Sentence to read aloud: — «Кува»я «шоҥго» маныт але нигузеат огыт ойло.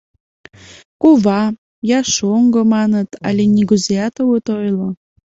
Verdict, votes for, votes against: accepted, 2, 0